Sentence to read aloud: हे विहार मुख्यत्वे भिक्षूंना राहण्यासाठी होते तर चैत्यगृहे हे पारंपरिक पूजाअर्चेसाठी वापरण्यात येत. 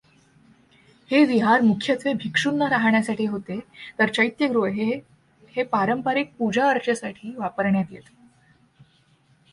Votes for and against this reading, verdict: 2, 0, accepted